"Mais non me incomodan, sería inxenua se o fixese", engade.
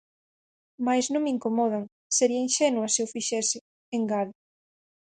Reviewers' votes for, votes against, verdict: 4, 0, accepted